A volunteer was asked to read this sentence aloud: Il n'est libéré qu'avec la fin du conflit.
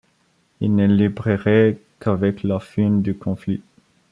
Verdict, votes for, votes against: rejected, 0, 2